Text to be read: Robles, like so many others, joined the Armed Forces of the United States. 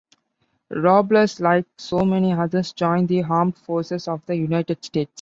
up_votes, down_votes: 2, 0